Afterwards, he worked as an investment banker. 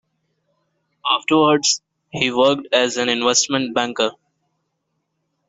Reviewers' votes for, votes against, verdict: 2, 0, accepted